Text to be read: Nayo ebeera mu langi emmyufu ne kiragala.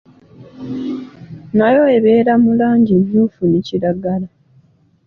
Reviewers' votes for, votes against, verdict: 1, 2, rejected